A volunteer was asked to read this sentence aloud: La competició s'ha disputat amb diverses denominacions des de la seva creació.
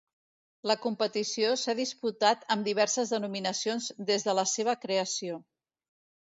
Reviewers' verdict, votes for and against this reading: accepted, 2, 0